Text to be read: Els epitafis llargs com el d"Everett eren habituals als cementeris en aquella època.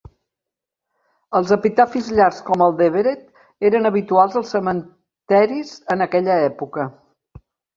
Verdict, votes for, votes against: rejected, 0, 2